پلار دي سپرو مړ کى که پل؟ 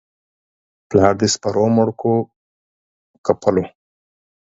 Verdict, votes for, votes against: rejected, 6, 12